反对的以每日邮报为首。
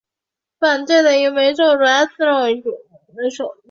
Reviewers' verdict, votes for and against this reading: rejected, 0, 2